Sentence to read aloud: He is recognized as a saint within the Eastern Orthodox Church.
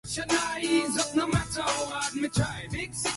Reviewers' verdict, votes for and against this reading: rejected, 0, 2